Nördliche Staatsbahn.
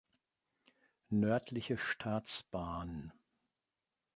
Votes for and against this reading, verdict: 2, 0, accepted